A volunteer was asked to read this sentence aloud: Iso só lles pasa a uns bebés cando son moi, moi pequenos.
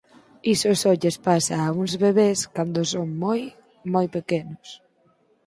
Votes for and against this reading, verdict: 4, 0, accepted